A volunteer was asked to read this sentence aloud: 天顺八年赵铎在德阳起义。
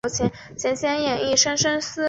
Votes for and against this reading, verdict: 0, 5, rejected